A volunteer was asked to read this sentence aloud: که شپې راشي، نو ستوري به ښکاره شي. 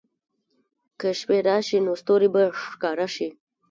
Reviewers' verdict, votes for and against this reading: rejected, 1, 2